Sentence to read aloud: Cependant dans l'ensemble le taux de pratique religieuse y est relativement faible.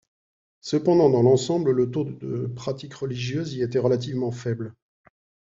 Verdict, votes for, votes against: rejected, 1, 2